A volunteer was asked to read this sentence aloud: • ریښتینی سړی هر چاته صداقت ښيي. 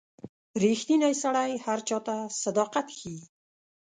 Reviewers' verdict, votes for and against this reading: accepted, 2, 0